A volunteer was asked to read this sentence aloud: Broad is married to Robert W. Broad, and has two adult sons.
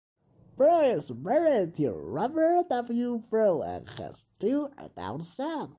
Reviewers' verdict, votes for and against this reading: rejected, 0, 2